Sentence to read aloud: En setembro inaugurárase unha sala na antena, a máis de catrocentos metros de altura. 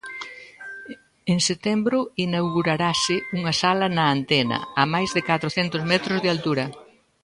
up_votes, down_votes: 1, 2